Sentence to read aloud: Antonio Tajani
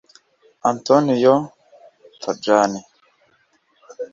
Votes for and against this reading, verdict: 1, 2, rejected